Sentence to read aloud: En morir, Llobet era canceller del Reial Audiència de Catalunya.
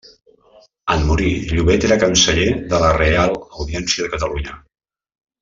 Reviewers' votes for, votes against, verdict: 2, 1, accepted